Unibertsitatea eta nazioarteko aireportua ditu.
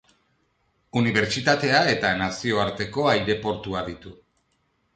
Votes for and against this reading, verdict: 4, 0, accepted